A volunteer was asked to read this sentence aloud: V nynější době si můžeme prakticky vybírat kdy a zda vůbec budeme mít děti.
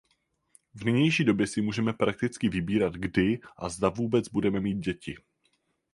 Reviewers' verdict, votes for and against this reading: accepted, 4, 0